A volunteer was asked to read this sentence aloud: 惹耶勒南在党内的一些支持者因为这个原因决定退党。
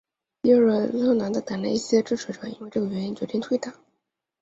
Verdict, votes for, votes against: rejected, 1, 2